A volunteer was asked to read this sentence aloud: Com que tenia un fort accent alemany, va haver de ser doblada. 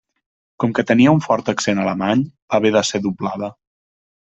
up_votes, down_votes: 1, 2